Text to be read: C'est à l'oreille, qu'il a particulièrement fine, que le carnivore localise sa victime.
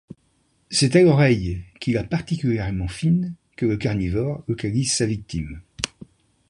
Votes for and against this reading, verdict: 2, 0, accepted